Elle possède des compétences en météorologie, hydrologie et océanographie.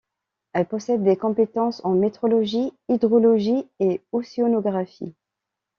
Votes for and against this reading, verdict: 2, 1, accepted